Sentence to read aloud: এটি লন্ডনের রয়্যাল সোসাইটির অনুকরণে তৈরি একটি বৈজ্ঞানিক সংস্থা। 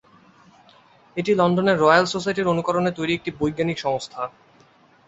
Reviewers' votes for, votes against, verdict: 5, 0, accepted